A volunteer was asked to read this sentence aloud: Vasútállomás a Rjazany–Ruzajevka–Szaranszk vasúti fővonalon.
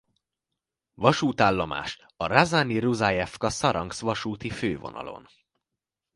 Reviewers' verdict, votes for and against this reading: accepted, 2, 0